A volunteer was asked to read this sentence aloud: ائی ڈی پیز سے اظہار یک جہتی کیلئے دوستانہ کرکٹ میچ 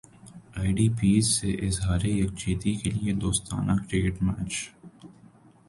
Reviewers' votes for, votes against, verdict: 1, 2, rejected